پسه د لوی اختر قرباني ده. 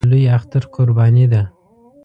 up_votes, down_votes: 0, 2